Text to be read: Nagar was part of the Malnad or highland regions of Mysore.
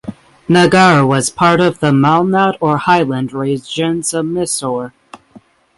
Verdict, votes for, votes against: rejected, 3, 6